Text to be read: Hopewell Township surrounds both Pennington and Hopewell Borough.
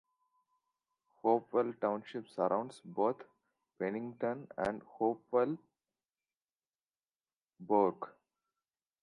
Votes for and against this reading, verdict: 0, 2, rejected